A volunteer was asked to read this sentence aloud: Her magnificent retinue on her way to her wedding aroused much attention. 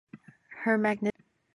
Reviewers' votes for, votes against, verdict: 1, 2, rejected